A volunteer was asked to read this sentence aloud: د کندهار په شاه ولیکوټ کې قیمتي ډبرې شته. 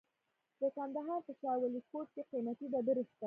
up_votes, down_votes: 2, 0